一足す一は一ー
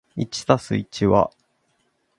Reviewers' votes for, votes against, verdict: 2, 4, rejected